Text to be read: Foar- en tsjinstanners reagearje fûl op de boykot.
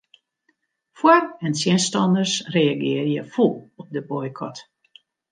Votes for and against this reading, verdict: 2, 0, accepted